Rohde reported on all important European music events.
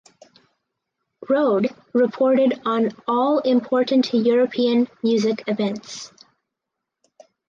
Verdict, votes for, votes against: accepted, 4, 0